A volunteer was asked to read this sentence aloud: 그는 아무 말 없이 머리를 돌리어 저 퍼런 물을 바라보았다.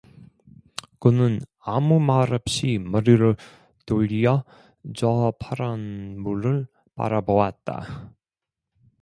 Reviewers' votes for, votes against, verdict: 1, 2, rejected